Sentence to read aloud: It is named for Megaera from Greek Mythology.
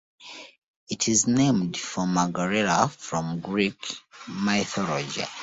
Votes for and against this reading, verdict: 1, 2, rejected